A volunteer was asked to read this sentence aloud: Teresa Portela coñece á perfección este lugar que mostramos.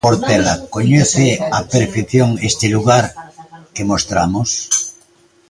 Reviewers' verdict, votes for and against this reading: rejected, 0, 2